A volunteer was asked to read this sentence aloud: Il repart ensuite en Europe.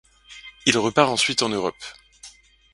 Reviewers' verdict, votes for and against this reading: rejected, 1, 2